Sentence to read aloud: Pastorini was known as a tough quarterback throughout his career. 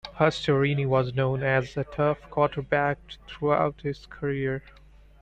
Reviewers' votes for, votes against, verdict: 2, 0, accepted